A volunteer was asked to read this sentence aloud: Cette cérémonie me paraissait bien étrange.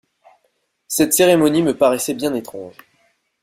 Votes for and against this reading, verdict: 2, 0, accepted